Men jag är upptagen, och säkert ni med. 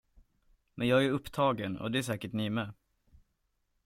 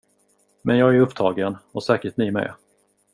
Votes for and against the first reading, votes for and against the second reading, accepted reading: 0, 2, 2, 0, second